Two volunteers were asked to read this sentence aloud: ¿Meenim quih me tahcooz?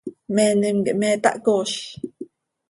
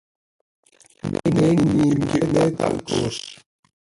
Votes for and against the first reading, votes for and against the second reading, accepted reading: 2, 0, 0, 2, first